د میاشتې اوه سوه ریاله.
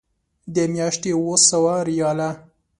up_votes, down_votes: 2, 0